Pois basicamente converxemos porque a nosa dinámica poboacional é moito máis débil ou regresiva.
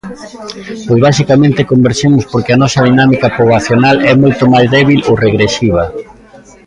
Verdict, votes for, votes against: rejected, 1, 2